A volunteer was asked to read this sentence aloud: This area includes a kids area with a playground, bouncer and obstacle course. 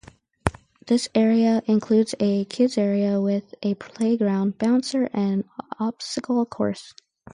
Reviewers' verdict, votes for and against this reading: rejected, 0, 2